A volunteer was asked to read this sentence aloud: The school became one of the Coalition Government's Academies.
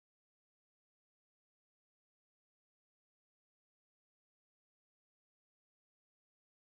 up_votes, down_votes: 0, 2